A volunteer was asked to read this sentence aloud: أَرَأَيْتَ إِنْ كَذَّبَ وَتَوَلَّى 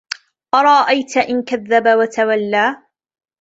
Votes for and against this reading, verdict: 2, 0, accepted